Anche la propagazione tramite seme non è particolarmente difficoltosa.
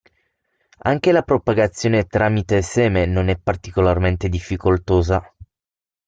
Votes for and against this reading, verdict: 6, 0, accepted